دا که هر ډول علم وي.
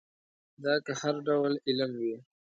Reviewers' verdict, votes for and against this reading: accepted, 2, 0